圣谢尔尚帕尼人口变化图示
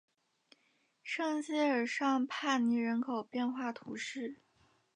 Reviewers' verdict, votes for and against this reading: accepted, 2, 0